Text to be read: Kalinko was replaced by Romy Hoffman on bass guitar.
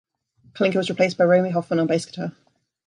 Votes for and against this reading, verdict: 1, 2, rejected